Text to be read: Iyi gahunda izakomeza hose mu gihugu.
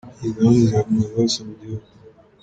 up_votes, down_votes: 2, 1